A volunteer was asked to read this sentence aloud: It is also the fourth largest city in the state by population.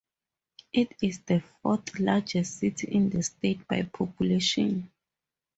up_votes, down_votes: 0, 4